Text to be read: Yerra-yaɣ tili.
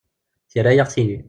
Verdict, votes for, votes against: accepted, 2, 0